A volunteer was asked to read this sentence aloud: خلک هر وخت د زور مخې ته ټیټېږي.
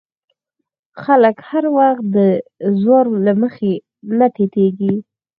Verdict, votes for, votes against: accepted, 4, 0